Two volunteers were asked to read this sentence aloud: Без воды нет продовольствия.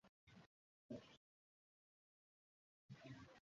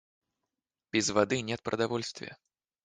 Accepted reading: second